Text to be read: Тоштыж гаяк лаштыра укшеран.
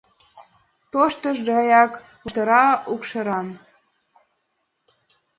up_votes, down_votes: 1, 2